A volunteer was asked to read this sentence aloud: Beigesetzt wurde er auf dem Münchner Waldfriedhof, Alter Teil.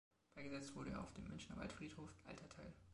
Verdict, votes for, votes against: accepted, 2, 0